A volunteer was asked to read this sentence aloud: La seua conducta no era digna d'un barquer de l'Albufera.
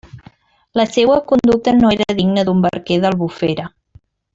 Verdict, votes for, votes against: rejected, 0, 2